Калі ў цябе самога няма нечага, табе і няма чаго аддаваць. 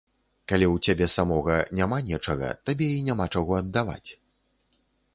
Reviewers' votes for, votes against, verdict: 2, 0, accepted